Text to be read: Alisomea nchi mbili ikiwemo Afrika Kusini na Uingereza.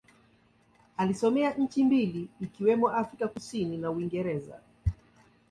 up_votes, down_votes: 2, 1